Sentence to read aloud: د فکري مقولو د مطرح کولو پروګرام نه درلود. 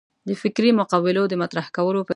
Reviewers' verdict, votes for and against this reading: rejected, 1, 2